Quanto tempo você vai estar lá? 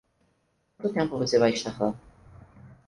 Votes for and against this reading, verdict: 4, 0, accepted